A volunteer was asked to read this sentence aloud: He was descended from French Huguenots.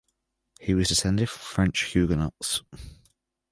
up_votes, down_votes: 1, 2